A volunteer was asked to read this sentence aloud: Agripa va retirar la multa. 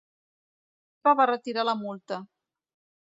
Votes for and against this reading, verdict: 0, 2, rejected